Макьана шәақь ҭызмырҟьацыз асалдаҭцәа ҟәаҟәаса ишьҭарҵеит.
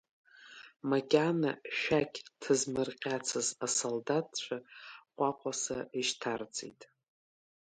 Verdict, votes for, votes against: accepted, 2, 0